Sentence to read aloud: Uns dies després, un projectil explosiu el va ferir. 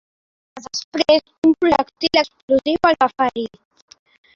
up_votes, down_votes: 1, 2